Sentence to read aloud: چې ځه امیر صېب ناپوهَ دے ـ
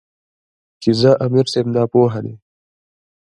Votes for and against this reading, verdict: 1, 2, rejected